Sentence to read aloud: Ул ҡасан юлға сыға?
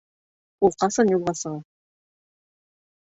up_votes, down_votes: 2, 0